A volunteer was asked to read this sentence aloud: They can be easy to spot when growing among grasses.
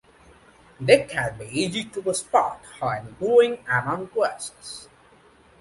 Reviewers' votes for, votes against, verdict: 2, 0, accepted